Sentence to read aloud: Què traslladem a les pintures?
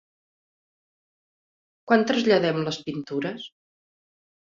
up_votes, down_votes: 1, 3